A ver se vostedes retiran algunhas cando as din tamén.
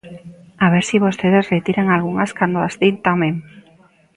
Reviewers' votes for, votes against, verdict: 2, 0, accepted